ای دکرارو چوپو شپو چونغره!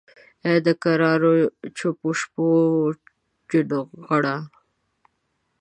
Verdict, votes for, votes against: rejected, 0, 2